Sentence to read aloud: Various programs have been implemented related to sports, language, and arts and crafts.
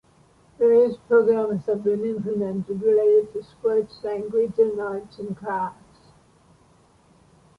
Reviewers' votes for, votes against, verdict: 2, 0, accepted